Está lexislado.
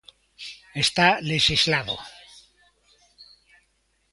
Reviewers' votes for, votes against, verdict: 2, 0, accepted